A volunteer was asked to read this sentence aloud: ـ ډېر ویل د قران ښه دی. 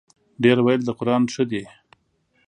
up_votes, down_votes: 2, 0